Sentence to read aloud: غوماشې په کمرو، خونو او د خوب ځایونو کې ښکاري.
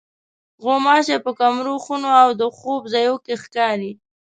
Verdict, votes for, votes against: accepted, 2, 0